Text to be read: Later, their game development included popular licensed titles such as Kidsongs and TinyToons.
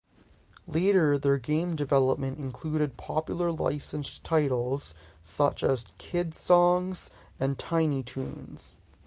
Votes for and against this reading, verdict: 3, 3, rejected